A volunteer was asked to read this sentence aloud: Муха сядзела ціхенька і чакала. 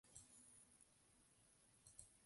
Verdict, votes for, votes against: rejected, 0, 2